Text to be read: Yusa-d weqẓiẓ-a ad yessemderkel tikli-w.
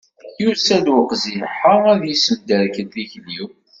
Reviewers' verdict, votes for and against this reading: rejected, 0, 2